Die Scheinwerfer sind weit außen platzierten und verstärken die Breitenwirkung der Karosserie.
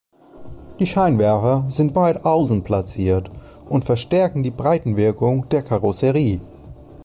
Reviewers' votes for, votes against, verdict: 0, 2, rejected